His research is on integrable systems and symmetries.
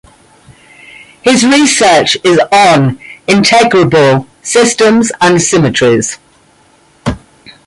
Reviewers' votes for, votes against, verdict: 2, 0, accepted